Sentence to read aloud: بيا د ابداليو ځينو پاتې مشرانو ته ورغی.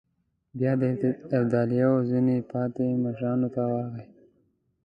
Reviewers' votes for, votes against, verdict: 0, 2, rejected